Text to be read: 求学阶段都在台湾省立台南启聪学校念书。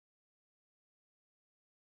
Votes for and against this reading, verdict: 0, 2, rejected